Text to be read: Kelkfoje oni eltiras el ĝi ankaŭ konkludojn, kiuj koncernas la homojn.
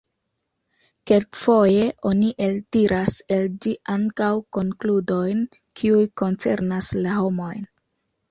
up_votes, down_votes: 2, 0